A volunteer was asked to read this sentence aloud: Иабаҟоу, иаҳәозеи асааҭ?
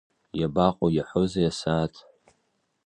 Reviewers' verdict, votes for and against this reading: accepted, 2, 0